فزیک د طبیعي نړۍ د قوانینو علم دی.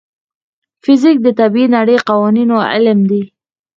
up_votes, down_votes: 4, 2